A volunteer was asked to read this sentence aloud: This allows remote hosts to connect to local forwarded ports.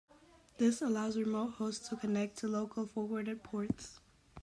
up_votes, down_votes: 2, 1